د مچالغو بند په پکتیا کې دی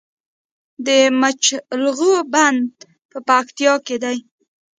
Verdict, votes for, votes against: rejected, 1, 2